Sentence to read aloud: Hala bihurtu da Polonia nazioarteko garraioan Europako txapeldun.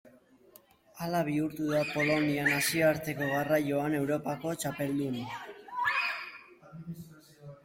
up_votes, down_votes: 6, 8